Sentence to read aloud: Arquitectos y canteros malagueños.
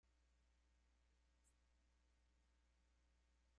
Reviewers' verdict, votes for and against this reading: rejected, 0, 2